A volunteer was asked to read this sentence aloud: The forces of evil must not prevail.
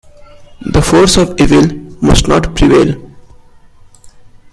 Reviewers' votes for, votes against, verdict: 0, 2, rejected